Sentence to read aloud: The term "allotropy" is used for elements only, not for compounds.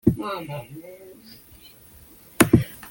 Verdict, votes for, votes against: rejected, 0, 2